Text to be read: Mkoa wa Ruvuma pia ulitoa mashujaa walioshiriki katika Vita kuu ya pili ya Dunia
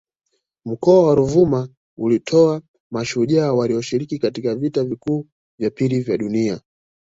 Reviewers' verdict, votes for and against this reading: rejected, 0, 2